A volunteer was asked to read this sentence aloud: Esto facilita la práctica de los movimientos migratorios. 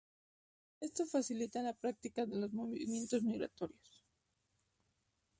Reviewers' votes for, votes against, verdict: 0, 2, rejected